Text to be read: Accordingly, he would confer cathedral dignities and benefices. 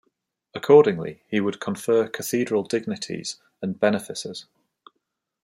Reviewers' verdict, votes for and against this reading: accepted, 2, 0